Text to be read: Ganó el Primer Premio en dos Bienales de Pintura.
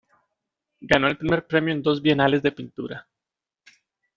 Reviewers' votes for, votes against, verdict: 2, 0, accepted